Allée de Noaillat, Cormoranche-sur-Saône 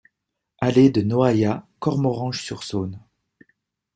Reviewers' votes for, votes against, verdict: 2, 0, accepted